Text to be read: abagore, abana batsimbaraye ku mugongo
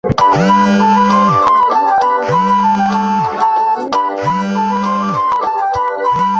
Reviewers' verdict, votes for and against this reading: rejected, 0, 3